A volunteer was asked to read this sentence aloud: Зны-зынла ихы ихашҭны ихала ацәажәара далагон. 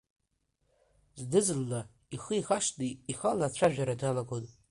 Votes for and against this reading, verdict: 2, 0, accepted